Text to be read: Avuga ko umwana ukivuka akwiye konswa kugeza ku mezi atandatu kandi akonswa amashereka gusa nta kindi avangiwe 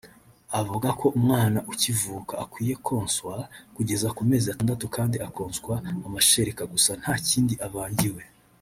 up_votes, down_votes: 3, 0